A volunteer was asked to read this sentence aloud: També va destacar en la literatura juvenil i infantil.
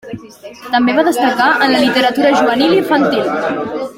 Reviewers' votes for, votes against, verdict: 3, 1, accepted